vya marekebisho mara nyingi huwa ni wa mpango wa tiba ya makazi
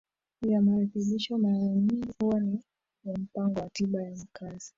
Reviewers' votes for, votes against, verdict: 0, 2, rejected